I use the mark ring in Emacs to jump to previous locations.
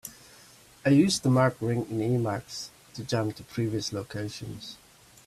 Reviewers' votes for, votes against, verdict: 2, 0, accepted